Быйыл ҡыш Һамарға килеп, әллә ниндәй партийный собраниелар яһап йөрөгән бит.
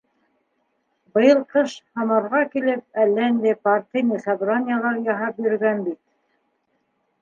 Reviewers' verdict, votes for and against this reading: rejected, 0, 2